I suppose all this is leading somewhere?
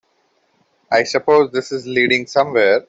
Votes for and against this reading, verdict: 0, 3, rejected